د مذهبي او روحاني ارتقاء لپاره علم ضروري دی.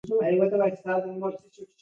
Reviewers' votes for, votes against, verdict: 0, 2, rejected